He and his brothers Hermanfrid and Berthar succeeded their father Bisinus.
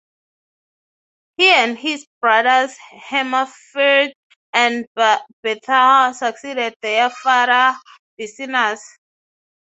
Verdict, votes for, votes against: rejected, 0, 6